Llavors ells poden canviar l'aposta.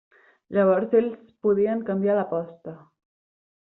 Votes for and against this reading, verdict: 1, 2, rejected